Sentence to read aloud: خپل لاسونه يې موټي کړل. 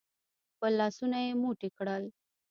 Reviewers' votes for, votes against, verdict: 0, 2, rejected